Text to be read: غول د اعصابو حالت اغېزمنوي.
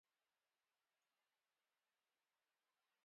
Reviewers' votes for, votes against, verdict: 0, 2, rejected